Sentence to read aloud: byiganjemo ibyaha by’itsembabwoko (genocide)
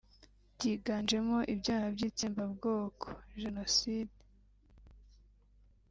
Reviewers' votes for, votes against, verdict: 0, 2, rejected